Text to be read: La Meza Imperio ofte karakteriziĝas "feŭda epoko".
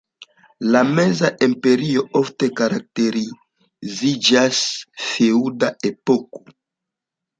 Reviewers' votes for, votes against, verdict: 2, 1, accepted